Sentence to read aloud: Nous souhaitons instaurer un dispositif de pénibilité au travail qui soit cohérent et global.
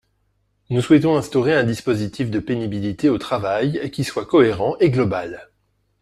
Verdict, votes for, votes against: accepted, 2, 1